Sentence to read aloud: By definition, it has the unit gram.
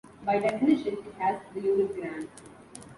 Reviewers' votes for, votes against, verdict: 2, 1, accepted